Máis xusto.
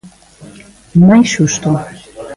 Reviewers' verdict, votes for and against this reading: accepted, 2, 0